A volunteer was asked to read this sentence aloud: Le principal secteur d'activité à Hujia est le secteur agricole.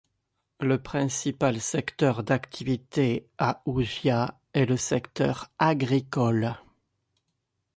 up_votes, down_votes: 1, 2